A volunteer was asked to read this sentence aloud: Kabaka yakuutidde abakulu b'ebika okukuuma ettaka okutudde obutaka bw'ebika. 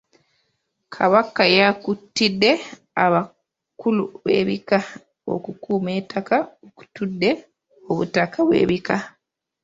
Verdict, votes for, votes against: rejected, 1, 2